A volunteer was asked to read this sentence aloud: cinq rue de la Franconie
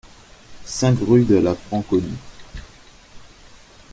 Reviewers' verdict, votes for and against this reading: accepted, 2, 0